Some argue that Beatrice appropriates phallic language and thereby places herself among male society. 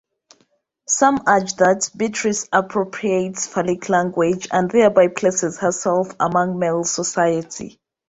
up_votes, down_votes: 1, 2